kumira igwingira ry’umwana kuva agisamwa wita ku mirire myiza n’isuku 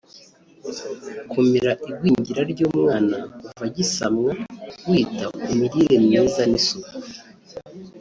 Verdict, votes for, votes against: rejected, 1, 3